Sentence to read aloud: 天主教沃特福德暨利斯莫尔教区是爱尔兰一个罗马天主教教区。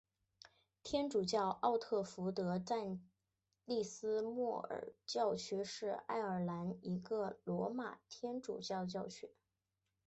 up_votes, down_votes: 3, 2